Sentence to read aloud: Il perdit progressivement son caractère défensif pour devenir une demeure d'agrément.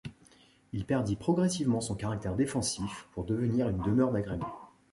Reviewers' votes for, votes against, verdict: 2, 0, accepted